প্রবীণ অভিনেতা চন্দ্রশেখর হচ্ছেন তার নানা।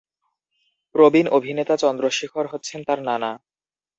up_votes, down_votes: 2, 0